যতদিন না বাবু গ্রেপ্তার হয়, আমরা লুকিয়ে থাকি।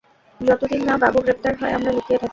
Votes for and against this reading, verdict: 0, 2, rejected